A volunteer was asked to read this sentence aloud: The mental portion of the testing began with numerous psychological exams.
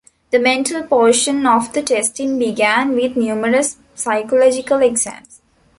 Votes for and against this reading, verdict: 2, 0, accepted